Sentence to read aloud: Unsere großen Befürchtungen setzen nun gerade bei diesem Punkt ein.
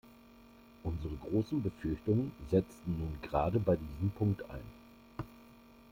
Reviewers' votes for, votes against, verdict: 0, 2, rejected